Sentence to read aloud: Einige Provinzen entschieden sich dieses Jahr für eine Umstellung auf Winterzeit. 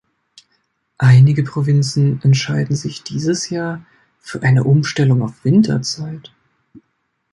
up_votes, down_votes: 1, 2